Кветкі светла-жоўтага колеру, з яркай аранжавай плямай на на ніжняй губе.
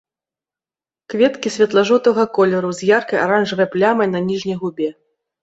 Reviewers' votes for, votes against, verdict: 2, 0, accepted